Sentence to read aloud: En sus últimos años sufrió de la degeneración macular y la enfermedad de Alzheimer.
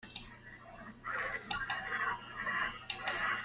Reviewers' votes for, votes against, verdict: 0, 2, rejected